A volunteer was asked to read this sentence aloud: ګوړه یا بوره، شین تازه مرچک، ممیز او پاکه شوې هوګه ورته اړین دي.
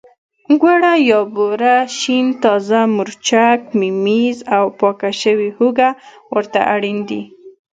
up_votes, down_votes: 1, 2